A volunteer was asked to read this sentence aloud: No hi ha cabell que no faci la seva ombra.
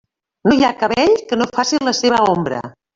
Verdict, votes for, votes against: rejected, 0, 2